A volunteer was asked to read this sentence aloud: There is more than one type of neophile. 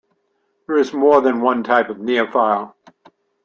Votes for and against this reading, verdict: 2, 0, accepted